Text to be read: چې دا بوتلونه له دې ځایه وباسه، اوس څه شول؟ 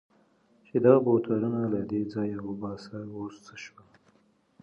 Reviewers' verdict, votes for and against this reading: accepted, 2, 0